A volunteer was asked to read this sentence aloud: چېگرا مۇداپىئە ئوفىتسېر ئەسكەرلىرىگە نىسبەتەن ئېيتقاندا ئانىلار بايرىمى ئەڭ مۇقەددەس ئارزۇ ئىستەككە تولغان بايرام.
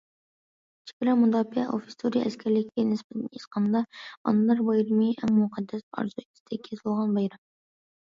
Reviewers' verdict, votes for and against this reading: rejected, 0, 2